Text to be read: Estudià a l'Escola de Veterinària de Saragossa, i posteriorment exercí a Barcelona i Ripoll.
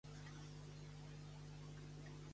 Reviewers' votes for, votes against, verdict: 0, 2, rejected